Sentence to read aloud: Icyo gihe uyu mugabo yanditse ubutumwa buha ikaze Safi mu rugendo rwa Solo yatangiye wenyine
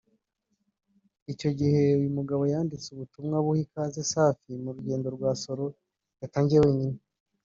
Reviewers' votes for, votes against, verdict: 1, 2, rejected